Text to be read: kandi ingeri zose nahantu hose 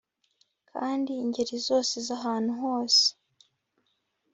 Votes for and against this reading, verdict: 0, 2, rejected